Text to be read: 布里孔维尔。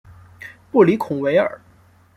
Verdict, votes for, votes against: accepted, 2, 0